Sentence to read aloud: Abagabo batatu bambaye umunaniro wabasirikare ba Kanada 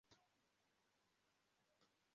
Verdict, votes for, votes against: rejected, 0, 2